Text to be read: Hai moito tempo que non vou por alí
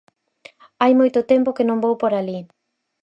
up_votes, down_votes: 4, 0